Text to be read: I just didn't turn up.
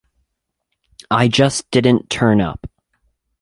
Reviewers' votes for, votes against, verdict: 2, 0, accepted